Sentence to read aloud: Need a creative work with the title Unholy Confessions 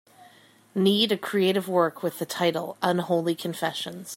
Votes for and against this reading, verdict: 2, 0, accepted